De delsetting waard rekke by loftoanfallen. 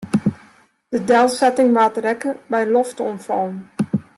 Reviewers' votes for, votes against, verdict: 1, 2, rejected